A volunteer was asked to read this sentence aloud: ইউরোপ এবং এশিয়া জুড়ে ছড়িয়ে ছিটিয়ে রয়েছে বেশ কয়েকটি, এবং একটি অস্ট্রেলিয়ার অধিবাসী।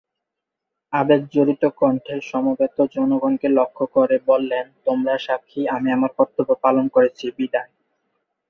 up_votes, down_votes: 0, 3